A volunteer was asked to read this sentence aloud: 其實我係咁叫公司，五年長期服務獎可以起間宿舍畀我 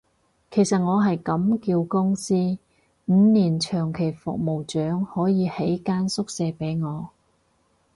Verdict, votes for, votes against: rejected, 2, 2